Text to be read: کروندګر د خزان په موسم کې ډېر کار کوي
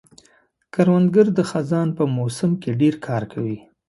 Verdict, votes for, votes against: accepted, 2, 0